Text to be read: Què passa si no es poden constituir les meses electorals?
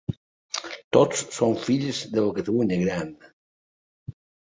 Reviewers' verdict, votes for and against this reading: rejected, 1, 2